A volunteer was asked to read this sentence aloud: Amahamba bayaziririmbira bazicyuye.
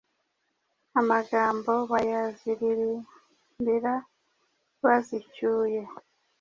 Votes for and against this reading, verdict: 1, 2, rejected